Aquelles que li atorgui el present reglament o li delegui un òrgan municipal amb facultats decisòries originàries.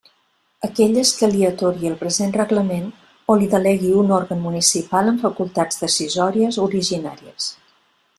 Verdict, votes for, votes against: accepted, 2, 0